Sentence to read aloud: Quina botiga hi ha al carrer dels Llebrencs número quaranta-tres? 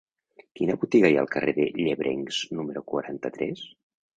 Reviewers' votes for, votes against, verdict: 1, 2, rejected